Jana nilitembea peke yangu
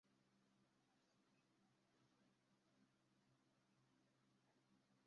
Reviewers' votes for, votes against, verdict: 0, 2, rejected